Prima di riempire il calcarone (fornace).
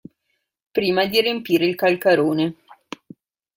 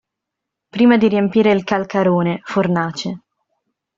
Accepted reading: second